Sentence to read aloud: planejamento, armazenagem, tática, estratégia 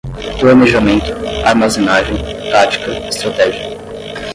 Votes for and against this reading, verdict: 5, 5, rejected